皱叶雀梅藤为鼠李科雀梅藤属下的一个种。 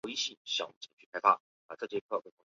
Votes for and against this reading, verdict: 1, 2, rejected